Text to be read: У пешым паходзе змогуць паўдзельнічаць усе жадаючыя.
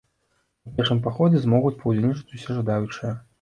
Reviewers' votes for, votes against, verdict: 2, 0, accepted